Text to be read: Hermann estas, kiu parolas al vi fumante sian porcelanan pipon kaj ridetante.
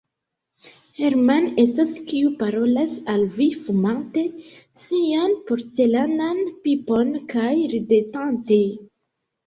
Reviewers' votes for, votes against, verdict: 2, 0, accepted